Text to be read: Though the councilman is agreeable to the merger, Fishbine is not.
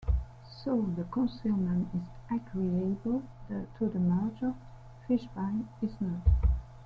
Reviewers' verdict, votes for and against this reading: rejected, 0, 2